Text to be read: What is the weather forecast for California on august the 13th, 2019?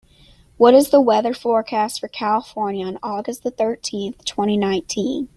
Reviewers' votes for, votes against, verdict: 0, 2, rejected